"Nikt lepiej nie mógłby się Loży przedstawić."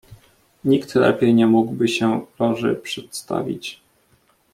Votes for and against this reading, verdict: 2, 0, accepted